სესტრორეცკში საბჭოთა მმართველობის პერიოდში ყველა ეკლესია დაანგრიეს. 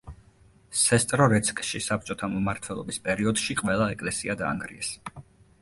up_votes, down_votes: 2, 0